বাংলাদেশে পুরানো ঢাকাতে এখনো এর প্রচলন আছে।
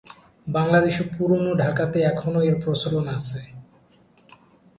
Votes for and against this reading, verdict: 5, 2, accepted